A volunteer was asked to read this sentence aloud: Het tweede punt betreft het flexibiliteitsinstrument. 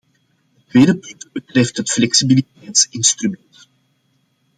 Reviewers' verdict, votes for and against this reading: rejected, 0, 2